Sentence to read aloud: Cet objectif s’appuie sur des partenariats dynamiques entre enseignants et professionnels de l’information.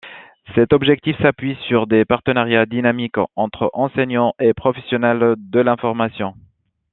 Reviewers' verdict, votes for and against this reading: accepted, 2, 0